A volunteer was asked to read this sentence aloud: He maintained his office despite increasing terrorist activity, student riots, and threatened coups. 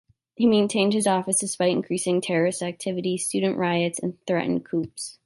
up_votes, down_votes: 1, 2